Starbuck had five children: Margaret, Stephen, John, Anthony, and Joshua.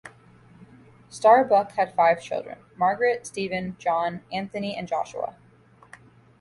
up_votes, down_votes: 2, 0